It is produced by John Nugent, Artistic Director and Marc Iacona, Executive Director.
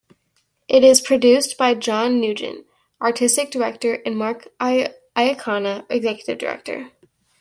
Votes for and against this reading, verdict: 0, 2, rejected